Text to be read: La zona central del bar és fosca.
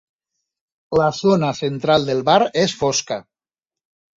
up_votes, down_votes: 8, 0